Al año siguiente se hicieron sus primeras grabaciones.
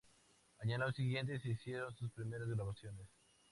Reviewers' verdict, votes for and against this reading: accepted, 2, 0